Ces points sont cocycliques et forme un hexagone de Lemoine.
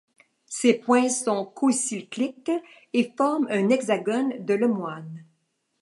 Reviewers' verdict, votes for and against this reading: accepted, 2, 1